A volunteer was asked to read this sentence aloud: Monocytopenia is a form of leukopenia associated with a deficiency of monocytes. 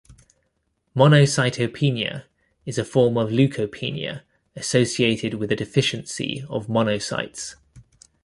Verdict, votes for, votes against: accepted, 2, 0